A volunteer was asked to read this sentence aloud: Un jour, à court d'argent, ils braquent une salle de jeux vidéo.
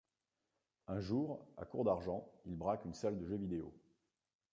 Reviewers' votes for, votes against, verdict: 0, 2, rejected